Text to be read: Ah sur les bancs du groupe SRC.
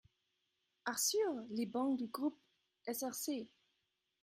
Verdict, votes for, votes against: rejected, 1, 2